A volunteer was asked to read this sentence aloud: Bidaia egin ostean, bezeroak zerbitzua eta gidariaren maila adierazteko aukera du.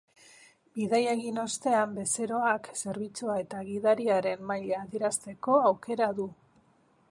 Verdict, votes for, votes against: accepted, 2, 0